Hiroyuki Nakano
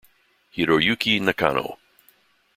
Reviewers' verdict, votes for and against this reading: accepted, 2, 0